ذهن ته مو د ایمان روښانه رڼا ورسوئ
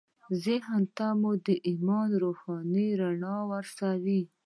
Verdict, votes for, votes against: accepted, 2, 0